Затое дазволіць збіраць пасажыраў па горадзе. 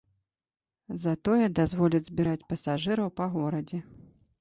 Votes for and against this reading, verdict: 2, 0, accepted